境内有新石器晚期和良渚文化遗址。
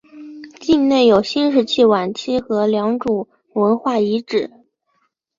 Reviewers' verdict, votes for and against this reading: accepted, 2, 0